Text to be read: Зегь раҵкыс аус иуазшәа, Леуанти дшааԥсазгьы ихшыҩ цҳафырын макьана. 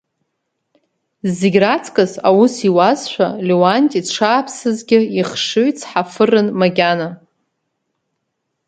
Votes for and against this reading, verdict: 3, 0, accepted